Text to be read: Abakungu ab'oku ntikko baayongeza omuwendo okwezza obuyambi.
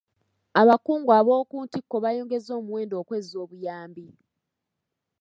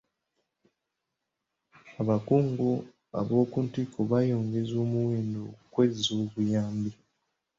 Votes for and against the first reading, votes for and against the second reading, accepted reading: 2, 0, 1, 2, first